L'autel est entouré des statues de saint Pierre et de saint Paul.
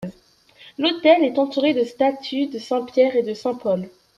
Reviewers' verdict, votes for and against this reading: rejected, 1, 2